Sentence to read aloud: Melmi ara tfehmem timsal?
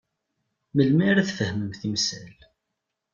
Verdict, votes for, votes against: accepted, 2, 0